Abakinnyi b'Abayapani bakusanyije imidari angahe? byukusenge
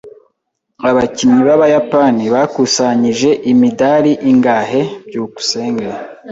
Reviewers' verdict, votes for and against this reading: rejected, 0, 2